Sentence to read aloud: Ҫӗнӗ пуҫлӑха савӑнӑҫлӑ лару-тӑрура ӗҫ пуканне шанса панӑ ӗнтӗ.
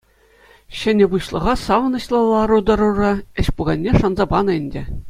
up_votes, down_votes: 2, 0